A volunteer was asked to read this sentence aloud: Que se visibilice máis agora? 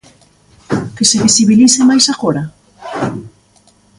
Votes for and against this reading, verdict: 4, 0, accepted